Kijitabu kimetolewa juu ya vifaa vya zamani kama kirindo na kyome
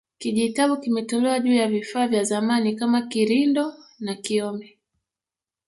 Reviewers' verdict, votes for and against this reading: accepted, 3, 1